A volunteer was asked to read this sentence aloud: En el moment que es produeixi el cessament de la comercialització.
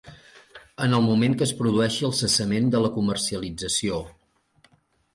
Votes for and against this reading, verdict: 2, 0, accepted